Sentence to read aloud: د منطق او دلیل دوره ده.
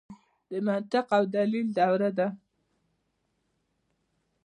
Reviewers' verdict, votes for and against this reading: accepted, 2, 0